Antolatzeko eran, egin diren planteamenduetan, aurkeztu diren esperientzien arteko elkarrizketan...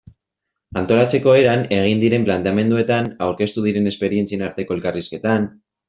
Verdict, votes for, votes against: accepted, 3, 0